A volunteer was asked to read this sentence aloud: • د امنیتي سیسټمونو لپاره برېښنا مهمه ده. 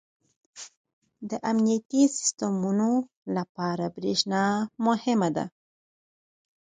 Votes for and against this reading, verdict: 4, 0, accepted